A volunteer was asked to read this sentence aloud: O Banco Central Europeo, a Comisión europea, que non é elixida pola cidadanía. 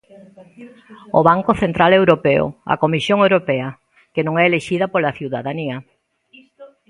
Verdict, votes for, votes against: rejected, 1, 2